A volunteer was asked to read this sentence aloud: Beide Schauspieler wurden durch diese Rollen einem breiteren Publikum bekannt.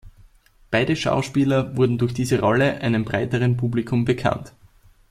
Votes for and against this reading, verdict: 2, 1, accepted